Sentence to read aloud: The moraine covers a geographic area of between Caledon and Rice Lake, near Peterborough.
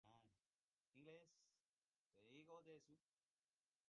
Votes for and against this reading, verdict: 0, 2, rejected